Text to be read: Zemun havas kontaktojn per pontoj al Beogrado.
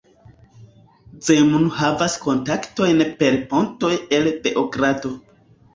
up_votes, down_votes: 0, 2